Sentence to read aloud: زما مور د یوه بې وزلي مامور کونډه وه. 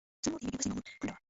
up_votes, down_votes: 0, 2